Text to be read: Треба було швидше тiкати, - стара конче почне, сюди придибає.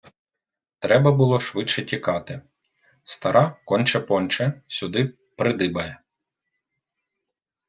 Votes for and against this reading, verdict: 1, 2, rejected